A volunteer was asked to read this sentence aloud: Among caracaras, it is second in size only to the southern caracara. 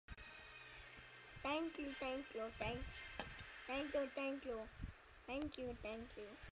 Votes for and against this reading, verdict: 0, 2, rejected